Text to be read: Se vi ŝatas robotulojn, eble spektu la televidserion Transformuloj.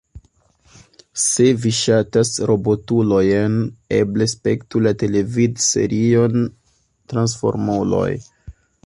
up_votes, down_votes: 2, 0